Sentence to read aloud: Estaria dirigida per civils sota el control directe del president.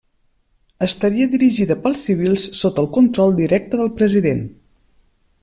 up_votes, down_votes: 2, 0